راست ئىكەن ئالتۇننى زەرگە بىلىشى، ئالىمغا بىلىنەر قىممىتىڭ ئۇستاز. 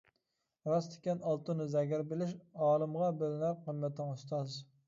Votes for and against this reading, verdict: 0, 2, rejected